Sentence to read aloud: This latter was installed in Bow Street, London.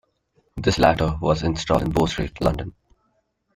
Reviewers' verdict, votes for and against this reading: accepted, 2, 0